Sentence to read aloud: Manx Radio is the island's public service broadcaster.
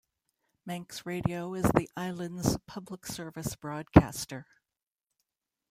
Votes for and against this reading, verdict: 0, 2, rejected